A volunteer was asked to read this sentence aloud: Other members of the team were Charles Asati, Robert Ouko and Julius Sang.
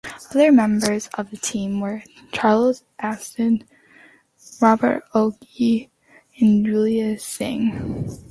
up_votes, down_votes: 2, 1